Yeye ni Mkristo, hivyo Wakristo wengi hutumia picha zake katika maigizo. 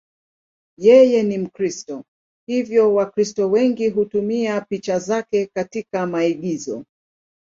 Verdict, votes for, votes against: accepted, 2, 0